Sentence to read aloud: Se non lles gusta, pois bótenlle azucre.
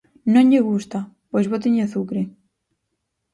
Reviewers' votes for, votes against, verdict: 0, 4, rejected